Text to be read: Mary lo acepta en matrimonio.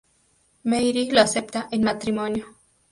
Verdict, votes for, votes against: accepted, 2, 0